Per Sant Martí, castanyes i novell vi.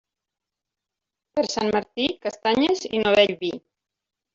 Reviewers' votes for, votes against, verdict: 0, 2, rejected